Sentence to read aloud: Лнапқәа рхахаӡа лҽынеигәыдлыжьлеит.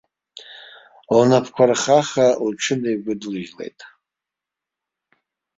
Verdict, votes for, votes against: rejected, 1, 2